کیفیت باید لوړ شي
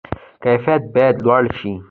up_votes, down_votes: 2, 0